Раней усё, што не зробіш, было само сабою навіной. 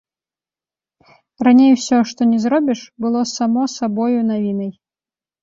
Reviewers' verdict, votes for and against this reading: rejected, 1, 2